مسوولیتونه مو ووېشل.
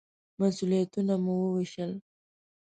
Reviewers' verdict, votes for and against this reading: accepted, 2, 0